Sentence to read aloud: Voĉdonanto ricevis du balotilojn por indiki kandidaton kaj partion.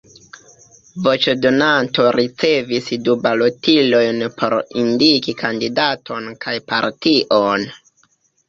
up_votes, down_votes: 0, 2